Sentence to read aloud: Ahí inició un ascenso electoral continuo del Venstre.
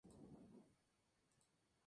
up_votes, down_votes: 0, 2